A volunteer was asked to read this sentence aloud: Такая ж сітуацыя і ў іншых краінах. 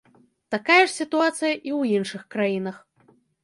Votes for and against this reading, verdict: 2, 0, accepted